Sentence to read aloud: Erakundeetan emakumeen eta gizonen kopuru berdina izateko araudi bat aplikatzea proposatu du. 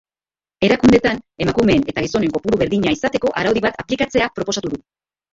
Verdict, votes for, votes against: accepted, 4, 2